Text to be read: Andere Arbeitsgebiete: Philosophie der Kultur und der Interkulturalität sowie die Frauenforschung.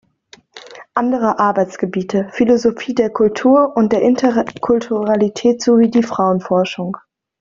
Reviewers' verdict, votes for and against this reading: rejected, 1, 2